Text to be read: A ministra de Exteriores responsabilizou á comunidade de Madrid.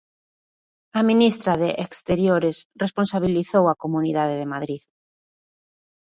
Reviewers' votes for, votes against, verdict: 1, 2, rejected